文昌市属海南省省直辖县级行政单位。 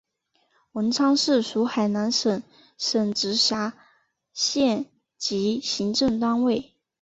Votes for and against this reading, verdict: 3, 1, accepted